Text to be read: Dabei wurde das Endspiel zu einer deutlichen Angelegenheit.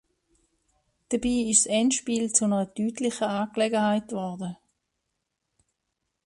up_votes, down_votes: 0, 2